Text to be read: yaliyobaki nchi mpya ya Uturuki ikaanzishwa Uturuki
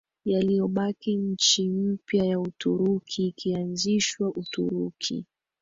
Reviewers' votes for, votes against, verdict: 1, 2, rejected